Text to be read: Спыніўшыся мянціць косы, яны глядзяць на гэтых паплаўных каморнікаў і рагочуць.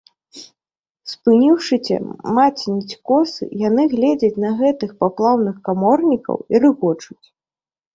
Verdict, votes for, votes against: rejected, 0, 2